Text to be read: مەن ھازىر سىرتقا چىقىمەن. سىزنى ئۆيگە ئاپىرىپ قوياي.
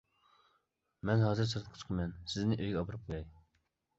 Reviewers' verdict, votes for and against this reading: rejected, 1, 2